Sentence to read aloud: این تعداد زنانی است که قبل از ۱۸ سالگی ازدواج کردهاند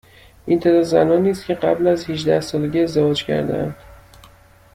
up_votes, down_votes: 0, 2